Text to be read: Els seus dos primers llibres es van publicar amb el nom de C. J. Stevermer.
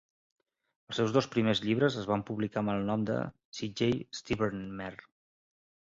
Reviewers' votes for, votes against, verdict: 0, 2, rejected